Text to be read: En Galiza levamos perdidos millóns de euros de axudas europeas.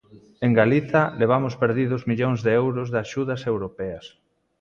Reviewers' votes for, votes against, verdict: 3, 0, accepted